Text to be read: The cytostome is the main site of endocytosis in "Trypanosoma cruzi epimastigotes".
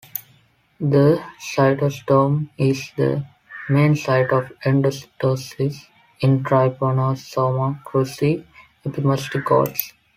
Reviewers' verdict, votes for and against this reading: accepted, 2, 0